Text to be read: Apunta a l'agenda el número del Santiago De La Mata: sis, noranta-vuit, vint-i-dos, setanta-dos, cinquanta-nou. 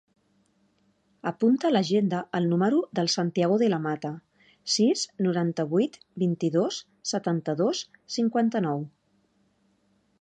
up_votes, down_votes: 3, 1